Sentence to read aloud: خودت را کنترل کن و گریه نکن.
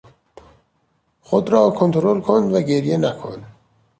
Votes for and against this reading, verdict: 0, 2, rejected